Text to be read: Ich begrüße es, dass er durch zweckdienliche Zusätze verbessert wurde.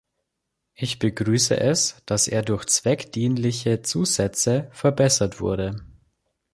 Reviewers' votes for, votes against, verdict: 2, 0, accepted